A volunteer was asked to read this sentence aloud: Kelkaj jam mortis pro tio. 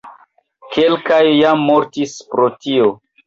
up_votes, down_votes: 2, 3